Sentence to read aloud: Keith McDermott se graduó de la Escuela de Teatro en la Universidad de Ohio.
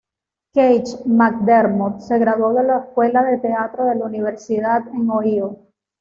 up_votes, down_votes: 1, 2